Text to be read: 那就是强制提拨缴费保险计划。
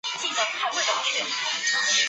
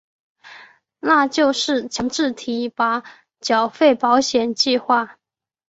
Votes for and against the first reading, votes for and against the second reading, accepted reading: 0, 2, 2, 1, second